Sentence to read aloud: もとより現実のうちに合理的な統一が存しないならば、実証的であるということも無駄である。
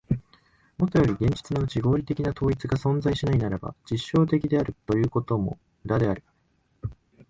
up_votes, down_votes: 2, 0